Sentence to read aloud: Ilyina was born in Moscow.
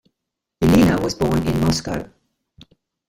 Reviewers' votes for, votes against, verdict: 1, 2, rejected